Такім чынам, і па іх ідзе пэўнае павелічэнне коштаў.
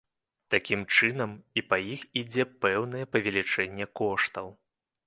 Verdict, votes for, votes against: accepted, 2, 0